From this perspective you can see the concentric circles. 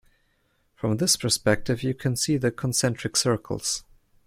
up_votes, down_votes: 2, 0